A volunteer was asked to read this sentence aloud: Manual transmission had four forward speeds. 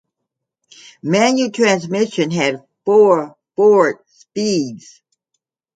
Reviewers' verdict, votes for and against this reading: accepted, 2, 0